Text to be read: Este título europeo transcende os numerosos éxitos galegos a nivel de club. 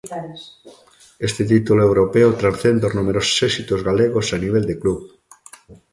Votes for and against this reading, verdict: 0, 2, rejected